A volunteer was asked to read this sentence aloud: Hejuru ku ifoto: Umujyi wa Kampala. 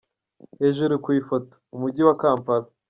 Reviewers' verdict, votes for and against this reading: accepted, 2, 1